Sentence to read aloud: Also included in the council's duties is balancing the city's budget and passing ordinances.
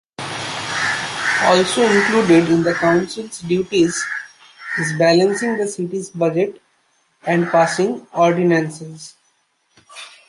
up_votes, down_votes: 1, 2